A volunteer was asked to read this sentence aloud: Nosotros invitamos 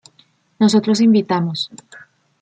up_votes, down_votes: 2, 0